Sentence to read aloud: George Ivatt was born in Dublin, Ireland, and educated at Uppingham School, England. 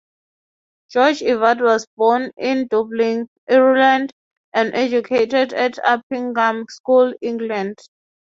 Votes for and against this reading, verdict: 3, 0, accepted